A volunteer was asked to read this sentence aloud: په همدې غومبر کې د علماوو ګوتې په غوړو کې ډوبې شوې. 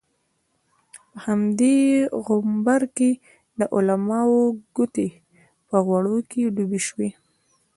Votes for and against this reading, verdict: 2, 0, accepted